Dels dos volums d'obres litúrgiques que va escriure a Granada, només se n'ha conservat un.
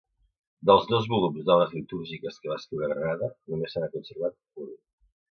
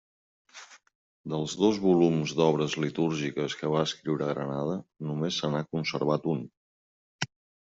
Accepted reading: second